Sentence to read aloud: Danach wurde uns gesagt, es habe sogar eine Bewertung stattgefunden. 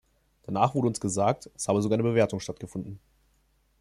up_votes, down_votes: 2, 0